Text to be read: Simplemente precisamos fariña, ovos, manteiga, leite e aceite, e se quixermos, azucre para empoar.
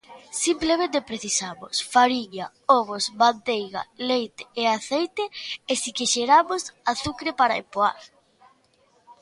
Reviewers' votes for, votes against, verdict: 0, 2, rejected